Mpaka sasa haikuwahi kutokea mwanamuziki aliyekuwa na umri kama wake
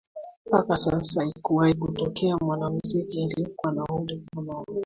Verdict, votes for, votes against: accepted, 2, 1